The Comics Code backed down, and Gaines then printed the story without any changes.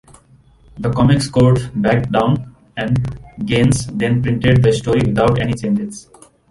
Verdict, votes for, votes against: accepted, 2, 0